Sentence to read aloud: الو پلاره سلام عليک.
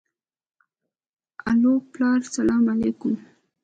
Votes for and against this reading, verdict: 3, 2, accepted